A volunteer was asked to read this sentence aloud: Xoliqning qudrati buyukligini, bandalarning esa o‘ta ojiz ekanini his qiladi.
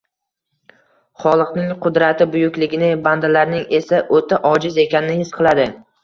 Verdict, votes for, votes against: accepted, 2, 0